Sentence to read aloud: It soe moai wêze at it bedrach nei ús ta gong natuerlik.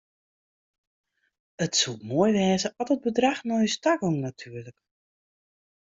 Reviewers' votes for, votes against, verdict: 2, 0, accepted